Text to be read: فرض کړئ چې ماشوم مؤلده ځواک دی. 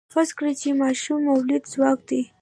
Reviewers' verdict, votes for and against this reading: accepted, 2, 0